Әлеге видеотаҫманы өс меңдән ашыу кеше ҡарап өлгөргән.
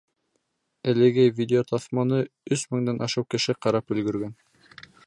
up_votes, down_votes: 2, 0